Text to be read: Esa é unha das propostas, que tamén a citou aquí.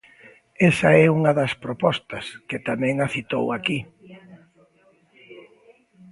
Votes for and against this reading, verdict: 2, 0, accepted